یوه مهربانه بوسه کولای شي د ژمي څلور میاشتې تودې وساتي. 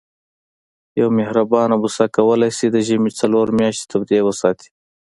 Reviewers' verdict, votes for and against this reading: accepted, 2, 0